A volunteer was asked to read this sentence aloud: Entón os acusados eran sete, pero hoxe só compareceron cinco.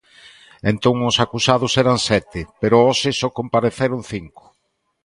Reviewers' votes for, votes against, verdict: 2, 0, accepted